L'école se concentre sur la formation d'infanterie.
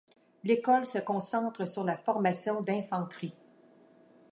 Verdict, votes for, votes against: accepted, 2, 0